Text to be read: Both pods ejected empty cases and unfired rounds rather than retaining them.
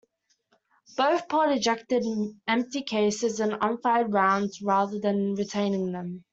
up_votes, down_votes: 1, 2